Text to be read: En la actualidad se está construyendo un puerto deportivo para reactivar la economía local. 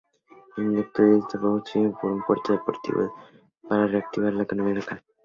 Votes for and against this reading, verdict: 0, 2, rejected